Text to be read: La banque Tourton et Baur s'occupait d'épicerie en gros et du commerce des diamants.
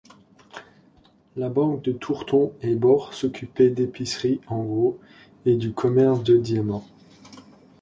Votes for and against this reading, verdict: 0, 2, rejected